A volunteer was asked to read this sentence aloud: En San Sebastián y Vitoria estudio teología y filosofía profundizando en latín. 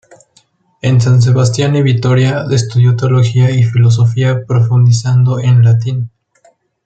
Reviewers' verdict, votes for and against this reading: accepted, 2, 0